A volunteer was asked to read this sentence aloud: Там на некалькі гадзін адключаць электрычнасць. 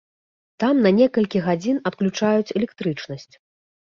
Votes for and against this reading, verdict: 0, 2, rejected